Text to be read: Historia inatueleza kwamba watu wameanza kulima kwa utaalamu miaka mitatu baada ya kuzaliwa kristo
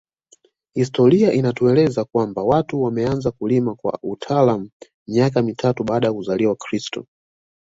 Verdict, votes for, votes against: accepted, 2, 0